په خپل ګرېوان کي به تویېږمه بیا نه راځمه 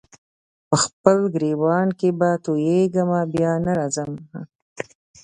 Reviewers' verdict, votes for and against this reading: accepted, 2, 0